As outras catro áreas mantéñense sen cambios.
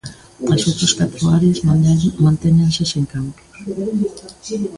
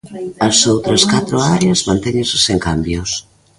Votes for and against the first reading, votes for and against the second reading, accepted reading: 0, 2, 2, 0, second